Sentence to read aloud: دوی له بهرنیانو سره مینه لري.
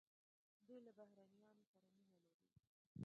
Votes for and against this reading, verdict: 0, 2, rejected